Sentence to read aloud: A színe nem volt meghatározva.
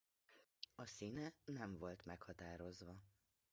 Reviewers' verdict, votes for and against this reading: rejected, 0, 2